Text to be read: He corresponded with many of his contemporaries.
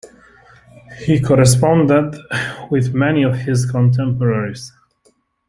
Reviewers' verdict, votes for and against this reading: accepted, 2, 1